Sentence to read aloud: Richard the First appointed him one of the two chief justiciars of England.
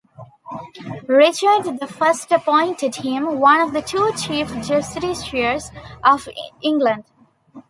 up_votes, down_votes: 2, 1